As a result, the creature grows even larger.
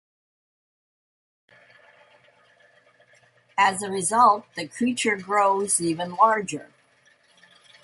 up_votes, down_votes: 2, 0